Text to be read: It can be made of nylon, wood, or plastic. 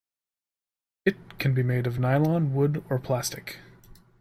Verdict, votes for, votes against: accepted, 2, 0